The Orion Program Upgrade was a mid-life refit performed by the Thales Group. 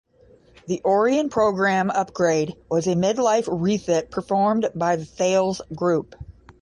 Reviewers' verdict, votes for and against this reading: accepted, 5, 0